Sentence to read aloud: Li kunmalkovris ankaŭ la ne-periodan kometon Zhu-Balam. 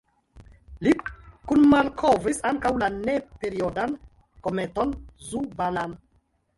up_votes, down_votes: 2, 1